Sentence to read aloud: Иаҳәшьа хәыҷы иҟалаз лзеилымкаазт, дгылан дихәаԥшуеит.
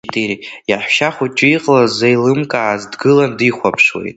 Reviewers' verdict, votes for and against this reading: accepted, 2, 1